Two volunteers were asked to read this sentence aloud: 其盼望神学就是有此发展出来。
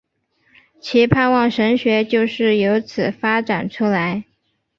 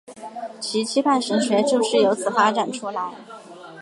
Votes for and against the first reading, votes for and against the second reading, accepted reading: 4, 0, 2, 2, first